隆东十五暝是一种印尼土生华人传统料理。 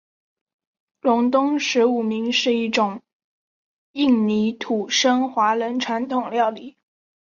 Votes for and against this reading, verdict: 4, 0, accepted